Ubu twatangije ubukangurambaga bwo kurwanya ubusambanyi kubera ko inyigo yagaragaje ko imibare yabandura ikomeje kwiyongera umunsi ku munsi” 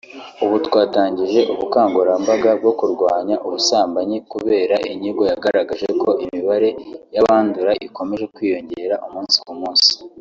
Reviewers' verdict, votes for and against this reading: accepted, 2, 1